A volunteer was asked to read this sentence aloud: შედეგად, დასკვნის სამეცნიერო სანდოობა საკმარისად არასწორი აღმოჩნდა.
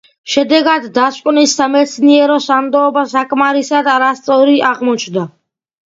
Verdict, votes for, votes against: accepted, 2, 0